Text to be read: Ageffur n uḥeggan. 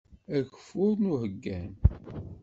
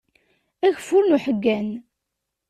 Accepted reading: second